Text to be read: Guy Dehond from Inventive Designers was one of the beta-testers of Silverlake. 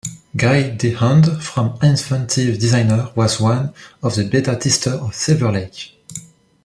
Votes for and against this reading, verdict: 0, 2, rejected